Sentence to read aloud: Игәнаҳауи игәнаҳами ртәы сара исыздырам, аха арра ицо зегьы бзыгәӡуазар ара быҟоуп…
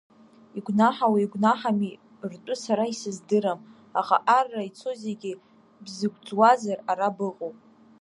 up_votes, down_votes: 1, 2